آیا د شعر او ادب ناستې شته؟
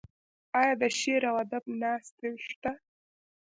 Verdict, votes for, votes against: accepted, 2, 0